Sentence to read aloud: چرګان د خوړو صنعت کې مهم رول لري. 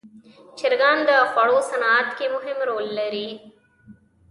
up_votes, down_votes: 2, 0